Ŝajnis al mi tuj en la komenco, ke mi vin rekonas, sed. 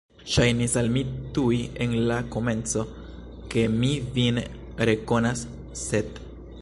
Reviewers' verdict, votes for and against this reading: rejected, 0, 2